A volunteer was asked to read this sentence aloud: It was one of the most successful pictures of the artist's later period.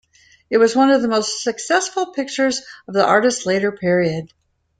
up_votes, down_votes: 2, 1